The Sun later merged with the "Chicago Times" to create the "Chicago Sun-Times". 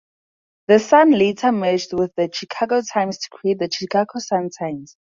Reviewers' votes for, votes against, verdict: 2, 0, accepted